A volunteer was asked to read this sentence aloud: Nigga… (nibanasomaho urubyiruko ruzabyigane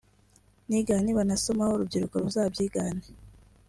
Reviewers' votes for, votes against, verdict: 2, 0, accepted